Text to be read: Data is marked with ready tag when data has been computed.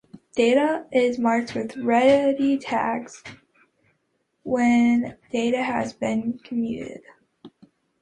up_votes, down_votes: 0, 2